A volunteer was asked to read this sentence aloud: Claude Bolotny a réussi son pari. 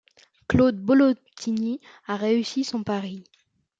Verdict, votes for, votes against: rejected, 0, 2